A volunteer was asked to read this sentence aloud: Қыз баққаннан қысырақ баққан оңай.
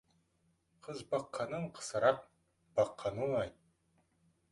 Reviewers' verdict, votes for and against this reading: accepted, 2, 0